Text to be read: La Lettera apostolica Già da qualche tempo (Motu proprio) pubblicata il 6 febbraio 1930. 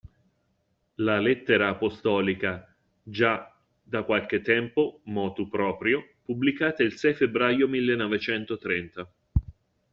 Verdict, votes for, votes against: rejected, 0, 2